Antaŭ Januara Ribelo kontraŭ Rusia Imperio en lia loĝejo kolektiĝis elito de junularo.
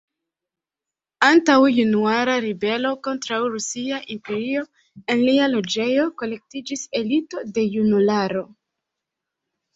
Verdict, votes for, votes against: accepted, 2, 0